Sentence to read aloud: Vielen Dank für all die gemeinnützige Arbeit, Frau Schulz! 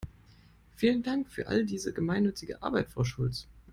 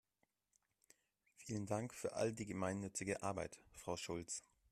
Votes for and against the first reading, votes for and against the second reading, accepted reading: 0, 2, 2, 0, second